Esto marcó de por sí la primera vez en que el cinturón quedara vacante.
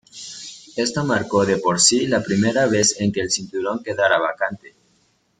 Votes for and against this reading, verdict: 1, 2, rejected